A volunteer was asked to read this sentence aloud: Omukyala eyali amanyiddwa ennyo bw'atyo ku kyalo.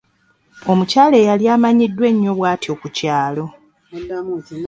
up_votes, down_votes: 0, 2